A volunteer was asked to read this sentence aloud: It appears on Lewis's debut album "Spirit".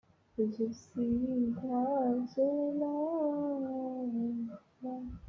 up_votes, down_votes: 0, 2